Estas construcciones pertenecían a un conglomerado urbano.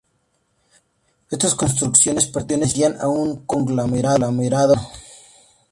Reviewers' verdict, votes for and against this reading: rejected, 0, 2